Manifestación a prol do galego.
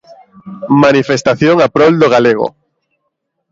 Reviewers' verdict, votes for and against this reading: accepted, 2, 0